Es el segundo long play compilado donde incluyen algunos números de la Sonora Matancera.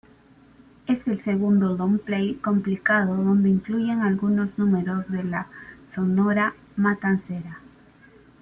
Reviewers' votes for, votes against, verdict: 1, 2, rejected